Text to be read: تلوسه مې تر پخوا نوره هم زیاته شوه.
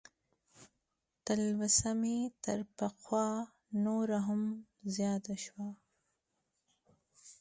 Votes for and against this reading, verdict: 2, 0, accepted